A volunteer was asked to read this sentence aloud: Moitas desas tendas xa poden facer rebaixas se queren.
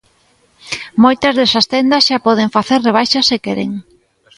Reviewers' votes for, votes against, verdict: 2, 0, accepted